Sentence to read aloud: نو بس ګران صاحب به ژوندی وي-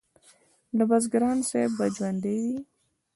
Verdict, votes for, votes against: rejected, 1, 2